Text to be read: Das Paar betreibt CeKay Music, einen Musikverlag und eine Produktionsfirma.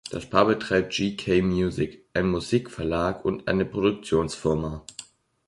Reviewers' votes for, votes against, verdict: 1, 2, rejected